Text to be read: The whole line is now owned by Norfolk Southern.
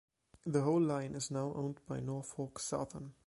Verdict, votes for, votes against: accepted, 3, 0